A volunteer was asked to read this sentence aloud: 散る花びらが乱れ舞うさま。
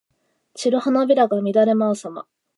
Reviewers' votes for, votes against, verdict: 2, 0, accepted